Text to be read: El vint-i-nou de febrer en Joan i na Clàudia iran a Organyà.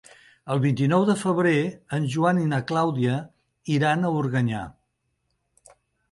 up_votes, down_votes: 2, 0